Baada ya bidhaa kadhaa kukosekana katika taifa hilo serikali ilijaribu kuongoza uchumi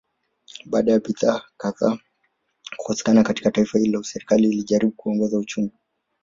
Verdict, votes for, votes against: rejected, 0, 2